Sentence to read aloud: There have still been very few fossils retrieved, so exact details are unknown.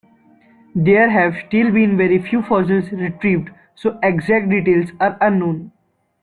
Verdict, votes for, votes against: rejected, 1, 3